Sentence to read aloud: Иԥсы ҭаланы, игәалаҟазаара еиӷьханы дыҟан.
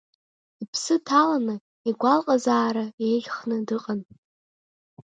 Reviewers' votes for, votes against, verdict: 3, 0, accepted